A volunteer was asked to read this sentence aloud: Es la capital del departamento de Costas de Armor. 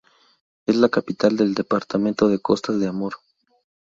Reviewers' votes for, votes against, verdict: 0, 2, rejected